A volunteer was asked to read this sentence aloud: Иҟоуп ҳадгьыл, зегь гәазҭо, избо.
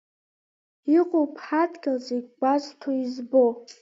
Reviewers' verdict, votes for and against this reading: accepted, 2, 0